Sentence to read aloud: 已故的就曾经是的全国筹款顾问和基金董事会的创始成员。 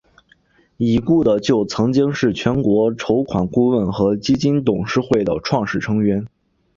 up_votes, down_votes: 1, 2